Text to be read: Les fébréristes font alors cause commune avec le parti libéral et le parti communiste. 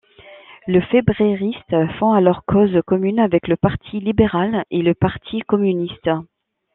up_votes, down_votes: 0, 2